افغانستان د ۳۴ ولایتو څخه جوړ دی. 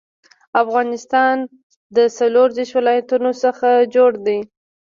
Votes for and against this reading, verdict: 0, 2, rejected